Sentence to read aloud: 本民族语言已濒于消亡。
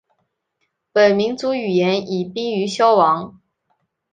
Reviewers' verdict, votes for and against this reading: accepted, 3, 0